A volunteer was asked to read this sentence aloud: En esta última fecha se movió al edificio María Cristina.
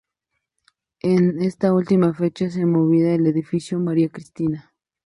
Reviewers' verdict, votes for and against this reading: accepted, 2, 0